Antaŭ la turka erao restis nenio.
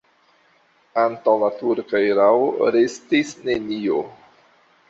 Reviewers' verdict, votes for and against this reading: accepted, 2, 1